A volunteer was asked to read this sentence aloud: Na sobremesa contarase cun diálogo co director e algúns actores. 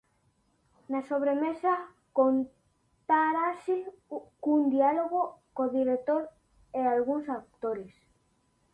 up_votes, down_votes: 0, 2